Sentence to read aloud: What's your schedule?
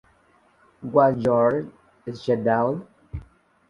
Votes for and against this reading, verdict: 0, 2, rejected